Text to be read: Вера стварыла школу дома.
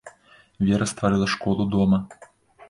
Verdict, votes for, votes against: accepted, 2, 0